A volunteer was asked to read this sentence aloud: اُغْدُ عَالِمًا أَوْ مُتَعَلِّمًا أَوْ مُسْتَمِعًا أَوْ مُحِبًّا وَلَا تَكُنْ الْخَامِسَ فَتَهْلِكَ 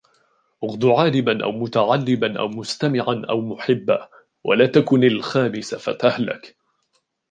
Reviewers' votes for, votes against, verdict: 1, 2, rejected